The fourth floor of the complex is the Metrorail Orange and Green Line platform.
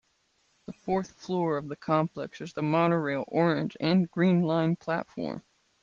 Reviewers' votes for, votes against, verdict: 1, 2, rejected